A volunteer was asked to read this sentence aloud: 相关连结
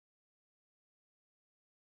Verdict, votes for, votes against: rejected, 0, 6